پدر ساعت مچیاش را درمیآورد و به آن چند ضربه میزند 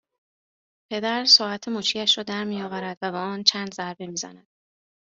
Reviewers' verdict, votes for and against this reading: accepted, 2, 0